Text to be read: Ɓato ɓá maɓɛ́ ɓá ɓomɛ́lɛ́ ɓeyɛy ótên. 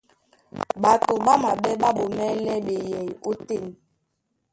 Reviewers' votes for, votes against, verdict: 0, 2, rejected